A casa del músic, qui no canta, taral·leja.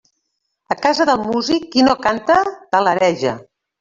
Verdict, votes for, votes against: rejected, 0, 2